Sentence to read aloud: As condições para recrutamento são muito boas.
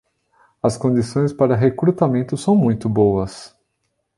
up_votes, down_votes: 2, 0